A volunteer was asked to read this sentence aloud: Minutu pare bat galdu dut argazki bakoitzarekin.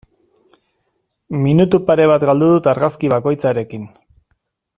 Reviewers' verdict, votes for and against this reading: accepted, 2, 0